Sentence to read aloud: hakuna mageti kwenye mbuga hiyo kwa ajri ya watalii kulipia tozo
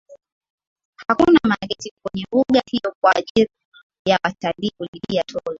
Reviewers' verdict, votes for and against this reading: accepted, 2, 0